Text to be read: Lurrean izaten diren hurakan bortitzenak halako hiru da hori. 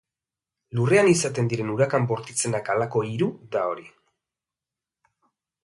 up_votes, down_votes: 2, 0